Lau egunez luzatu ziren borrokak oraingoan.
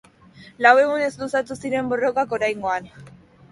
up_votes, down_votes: 2, 0